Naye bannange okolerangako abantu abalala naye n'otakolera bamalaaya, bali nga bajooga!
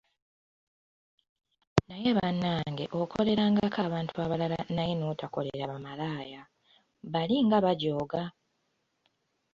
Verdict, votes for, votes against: rejected, 1, 2